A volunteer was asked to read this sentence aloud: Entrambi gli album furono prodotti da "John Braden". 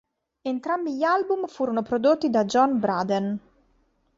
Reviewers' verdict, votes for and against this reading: accepted, 2, 0